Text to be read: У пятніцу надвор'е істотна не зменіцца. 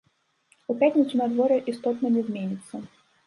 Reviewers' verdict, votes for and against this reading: accepted, 2, 1